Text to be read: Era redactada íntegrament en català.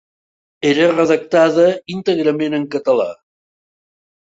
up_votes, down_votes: 4, 0